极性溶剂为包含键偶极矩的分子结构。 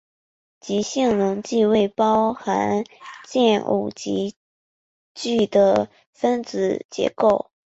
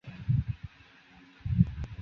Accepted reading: first